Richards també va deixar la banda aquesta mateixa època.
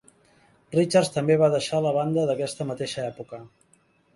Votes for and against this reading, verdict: 0, 2, rejected